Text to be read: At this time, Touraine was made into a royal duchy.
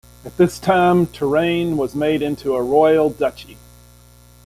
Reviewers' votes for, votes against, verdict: 1, 2, rejected